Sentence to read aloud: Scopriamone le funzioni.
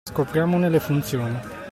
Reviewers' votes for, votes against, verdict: 2, 0, accepted